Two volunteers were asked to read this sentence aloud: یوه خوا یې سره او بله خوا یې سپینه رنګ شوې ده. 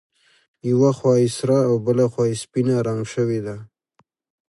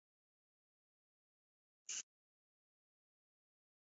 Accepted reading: first